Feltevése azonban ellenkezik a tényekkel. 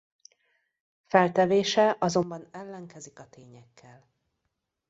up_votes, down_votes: 1, 2